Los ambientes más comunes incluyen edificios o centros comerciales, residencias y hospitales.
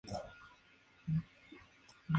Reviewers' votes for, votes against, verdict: 0, 2, rejected